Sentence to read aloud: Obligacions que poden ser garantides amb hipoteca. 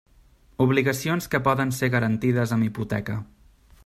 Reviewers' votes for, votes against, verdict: 3, 0, accepted